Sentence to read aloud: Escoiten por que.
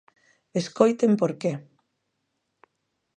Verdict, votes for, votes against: accepted, 2, 0